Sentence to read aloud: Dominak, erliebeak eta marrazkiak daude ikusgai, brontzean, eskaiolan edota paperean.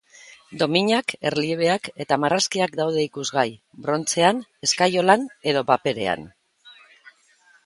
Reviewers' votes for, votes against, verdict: 2, 1, accepted